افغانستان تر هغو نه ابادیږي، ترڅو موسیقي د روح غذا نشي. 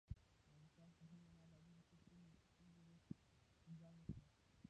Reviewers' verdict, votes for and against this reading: rejected, 0, 2